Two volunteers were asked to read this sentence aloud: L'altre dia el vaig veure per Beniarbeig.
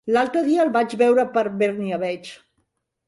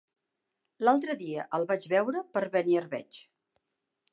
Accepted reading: second